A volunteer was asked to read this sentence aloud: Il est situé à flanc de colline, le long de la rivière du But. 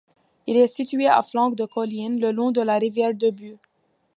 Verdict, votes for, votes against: rejected, 0, 2